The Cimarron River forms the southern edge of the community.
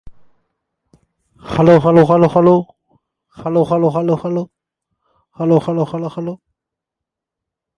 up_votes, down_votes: 0, 2